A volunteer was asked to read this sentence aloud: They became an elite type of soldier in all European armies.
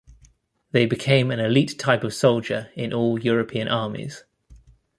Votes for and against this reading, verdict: 2, 0, accepted